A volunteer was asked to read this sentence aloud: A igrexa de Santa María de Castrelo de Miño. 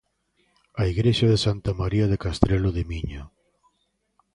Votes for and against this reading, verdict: 2, 0, accepted